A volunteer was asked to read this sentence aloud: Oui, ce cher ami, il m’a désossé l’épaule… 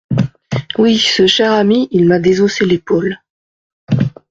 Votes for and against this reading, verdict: 2, 0, accepted